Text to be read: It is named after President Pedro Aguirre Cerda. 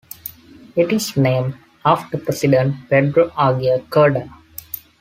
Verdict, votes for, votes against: accepted, 2, 0